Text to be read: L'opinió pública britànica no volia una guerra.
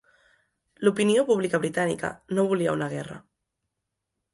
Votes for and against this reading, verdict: 3, 0, accepted